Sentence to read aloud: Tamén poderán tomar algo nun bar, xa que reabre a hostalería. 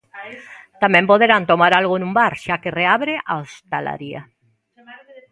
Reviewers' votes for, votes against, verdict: 2, 1, accepted